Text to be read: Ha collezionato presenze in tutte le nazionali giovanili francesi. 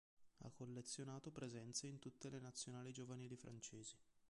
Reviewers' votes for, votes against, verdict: 2, 0, accepted